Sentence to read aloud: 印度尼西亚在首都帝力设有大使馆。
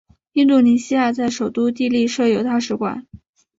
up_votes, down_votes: 2, 0